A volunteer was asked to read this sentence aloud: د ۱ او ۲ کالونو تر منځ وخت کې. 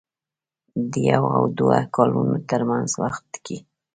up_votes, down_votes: 0, 2